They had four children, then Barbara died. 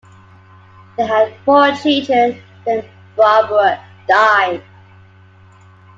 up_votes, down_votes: 2, 0